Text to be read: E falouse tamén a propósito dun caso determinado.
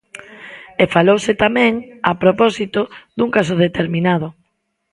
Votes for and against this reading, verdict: 2, 0, accepted